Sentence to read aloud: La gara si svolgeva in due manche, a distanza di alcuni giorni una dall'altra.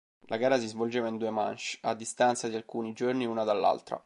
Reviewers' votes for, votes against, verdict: 3, 0, accepted